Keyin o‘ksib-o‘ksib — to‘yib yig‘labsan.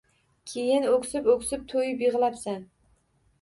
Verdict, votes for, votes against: accepted, 2, 0